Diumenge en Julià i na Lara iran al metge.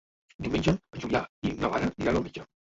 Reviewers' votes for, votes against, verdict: 0, 2, rejected